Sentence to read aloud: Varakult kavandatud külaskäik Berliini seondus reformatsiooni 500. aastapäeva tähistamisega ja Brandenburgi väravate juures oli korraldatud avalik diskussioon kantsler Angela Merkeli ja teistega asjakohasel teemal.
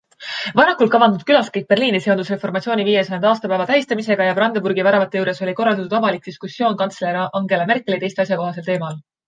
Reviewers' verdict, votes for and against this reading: rejected, 0, 2